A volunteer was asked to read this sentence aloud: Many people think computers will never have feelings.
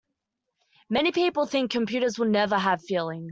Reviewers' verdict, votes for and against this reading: accepted, 2, 1